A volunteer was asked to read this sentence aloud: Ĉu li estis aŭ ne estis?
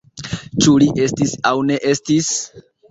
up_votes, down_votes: 3, 1